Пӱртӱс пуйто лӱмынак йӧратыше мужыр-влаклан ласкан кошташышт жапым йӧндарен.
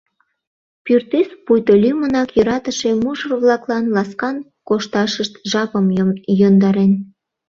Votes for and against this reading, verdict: 0, 2, rejected